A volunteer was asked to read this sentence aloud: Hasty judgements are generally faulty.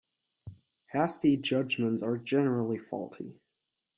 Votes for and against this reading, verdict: 1, 2, rejected